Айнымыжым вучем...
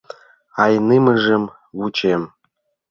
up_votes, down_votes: 0, 2